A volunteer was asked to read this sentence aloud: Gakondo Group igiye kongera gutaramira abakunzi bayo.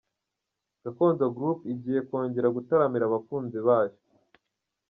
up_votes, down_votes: 2, 0